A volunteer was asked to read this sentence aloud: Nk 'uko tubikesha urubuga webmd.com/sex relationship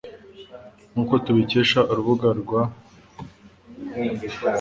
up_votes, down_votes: 1, 2